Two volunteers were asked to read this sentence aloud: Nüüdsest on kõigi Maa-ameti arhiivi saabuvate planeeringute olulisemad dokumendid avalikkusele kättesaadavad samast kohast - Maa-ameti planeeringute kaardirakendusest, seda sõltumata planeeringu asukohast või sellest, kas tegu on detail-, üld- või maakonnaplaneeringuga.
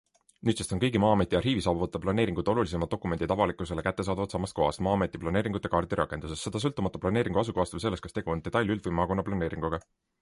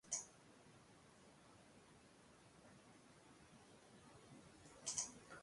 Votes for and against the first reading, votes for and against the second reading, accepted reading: 2, 0, 0, 2, first